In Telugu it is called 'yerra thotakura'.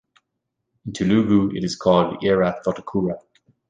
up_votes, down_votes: 2, 1